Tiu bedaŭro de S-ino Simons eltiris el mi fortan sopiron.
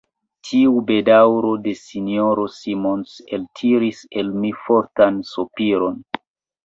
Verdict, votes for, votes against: rejected, 0, 2